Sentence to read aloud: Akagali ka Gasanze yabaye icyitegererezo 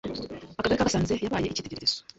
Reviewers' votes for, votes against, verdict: 0, 2, rejected